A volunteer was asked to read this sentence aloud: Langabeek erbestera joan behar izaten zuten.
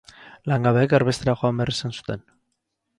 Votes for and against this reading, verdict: 2, 2, rejected